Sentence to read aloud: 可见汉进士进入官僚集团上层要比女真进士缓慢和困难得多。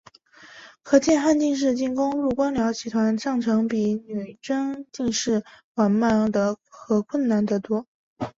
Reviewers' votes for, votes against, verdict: 5, 0, accepted